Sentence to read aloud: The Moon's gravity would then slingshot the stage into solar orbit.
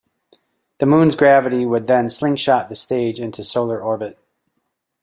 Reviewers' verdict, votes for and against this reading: accepted, 2, 0